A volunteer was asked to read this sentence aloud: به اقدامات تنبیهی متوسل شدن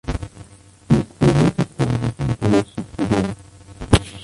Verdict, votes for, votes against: rejected, 0, 2